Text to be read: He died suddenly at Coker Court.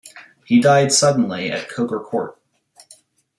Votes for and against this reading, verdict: 2, 0, accepted